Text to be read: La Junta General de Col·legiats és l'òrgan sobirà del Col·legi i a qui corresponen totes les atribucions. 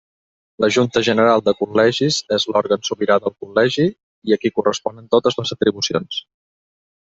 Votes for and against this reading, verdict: 0, 2, rejected